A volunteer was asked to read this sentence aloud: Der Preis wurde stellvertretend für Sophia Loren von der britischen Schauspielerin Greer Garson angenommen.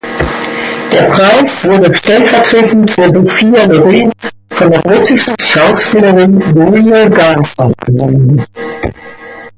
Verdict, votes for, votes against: accepted, 2, 1